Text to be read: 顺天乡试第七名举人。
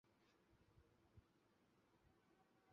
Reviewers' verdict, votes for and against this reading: rejected, 1, 9